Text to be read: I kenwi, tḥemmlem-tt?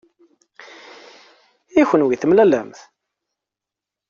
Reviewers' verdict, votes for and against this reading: rejected, 0, 2